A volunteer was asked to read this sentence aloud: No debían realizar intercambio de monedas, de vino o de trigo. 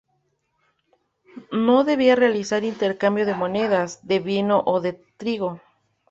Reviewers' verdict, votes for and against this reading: rejected, 0, 2